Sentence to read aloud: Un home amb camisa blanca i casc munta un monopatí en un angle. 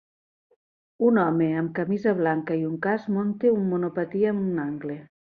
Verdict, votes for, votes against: rejected, 1, 2